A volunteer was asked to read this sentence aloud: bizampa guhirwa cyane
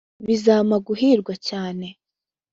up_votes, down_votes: 2, 0